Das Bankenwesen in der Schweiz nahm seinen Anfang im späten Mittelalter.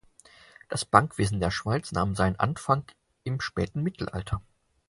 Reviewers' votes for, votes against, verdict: 0, 4, rejected